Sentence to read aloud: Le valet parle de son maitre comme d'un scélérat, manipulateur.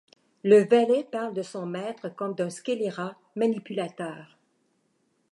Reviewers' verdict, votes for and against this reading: rejected, 0, 2